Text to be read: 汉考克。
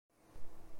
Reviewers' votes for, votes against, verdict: 1, 2, rejected